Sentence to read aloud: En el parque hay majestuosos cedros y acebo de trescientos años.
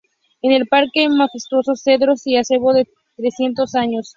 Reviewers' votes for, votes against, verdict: 4, 0, accepted